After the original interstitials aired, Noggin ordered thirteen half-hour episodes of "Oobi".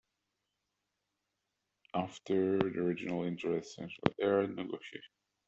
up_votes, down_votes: 0, 2